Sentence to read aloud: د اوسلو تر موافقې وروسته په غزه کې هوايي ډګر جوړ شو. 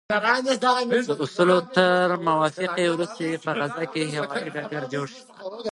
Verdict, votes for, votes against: rejected, 1, 2